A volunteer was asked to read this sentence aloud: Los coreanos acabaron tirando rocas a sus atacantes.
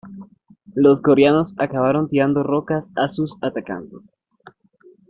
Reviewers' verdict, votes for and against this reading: rejected, 0, 2